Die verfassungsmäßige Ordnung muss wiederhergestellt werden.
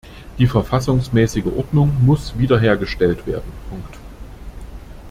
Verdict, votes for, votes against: rejected, 0, 2